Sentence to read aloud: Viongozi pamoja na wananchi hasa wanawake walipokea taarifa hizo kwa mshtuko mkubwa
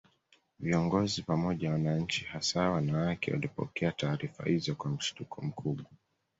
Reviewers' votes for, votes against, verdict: 2, 1, accepted